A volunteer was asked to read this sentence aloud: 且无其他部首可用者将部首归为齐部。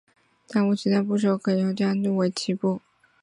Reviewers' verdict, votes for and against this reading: rejected, 0, 2